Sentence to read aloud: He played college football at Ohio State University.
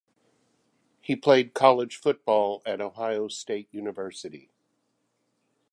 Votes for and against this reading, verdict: 2, 0, accepted